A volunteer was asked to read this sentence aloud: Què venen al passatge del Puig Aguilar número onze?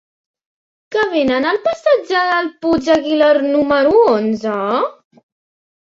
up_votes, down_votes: 1, 2